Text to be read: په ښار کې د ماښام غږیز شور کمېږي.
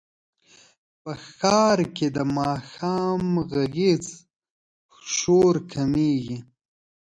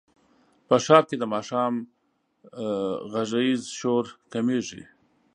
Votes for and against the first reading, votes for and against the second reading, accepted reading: 5, 0, 1, 2, first